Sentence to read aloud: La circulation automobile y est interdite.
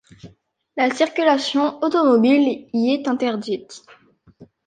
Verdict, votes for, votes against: accepted, 2, 0